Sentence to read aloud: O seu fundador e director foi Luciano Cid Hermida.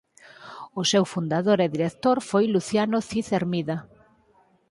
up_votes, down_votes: 4, 0